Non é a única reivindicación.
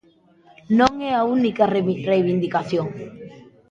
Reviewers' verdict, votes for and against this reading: rejected, 1, 2